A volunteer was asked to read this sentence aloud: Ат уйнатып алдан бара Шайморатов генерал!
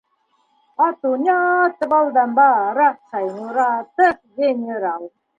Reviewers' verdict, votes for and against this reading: accepted, 2, 0